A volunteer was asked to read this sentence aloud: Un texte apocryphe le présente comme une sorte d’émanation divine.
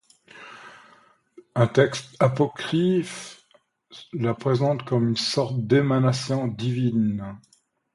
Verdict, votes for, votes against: rejected, 0, 2